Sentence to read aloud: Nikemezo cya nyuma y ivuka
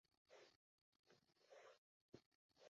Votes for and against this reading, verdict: 0, 2, rejected